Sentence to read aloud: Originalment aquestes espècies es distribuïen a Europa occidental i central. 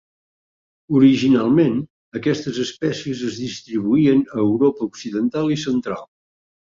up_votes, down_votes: 4, 0